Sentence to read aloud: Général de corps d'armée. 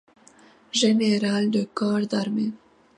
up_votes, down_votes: 2, 0